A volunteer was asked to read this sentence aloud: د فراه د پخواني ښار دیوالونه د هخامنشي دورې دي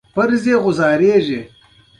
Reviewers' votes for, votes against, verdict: 2, 1, accepted